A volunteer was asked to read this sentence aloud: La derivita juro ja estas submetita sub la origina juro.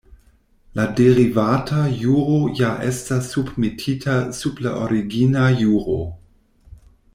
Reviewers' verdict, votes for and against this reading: rejected, 1, 2